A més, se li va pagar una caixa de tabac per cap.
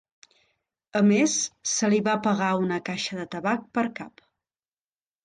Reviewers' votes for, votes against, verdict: 4, 0, accepted